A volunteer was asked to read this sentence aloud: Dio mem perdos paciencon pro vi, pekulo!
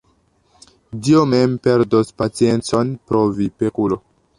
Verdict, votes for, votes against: accepted, 2, 0